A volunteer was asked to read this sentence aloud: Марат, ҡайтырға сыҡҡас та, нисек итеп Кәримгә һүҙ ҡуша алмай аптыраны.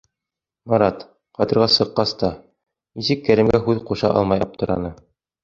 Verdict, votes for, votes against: accepted, 2, 0